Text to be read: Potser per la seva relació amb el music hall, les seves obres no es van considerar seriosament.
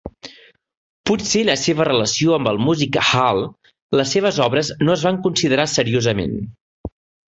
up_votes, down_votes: 0, 2